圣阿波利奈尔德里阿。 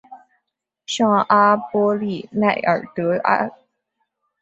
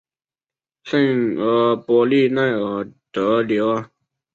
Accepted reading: first